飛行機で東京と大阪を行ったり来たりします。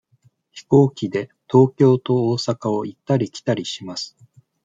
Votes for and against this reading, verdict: 1, 2, rejected